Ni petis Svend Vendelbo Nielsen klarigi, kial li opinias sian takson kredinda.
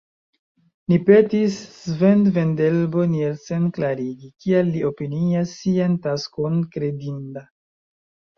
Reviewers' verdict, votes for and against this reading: rejected, 1, 2